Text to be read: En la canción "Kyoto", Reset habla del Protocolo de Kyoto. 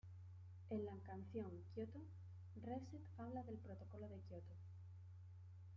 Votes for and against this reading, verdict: 0, 2, rejected